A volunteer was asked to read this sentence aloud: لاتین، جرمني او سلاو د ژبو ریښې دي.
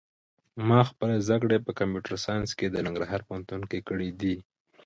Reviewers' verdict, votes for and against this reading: rejected, 0, 2